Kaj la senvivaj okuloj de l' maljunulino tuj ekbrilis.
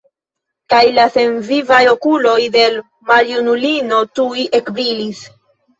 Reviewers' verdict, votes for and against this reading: rejected, 1, 2